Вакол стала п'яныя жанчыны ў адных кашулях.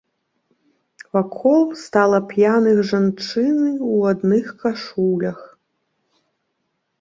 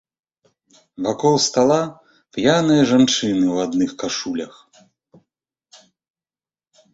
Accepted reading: second